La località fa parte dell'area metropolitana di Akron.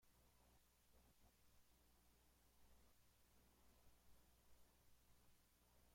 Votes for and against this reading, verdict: 0, 2, rejected